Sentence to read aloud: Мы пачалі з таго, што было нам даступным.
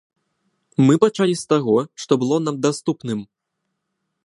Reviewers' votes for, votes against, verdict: 2, 0, accepted